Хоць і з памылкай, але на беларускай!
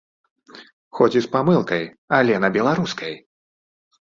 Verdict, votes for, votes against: accepted, 2, 0